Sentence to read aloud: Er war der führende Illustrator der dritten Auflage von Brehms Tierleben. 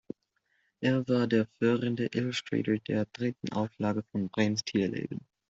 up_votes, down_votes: 0, 2